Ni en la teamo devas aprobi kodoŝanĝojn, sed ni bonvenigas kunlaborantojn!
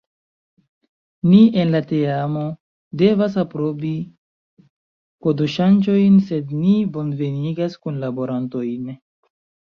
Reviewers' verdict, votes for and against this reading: accepted, 2, 0